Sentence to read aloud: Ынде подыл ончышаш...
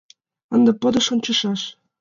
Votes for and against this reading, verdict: 1, 2, rejected